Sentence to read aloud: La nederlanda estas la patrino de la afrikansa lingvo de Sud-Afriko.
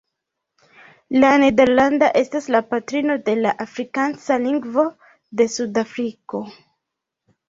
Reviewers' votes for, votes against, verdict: 1, 2, rejected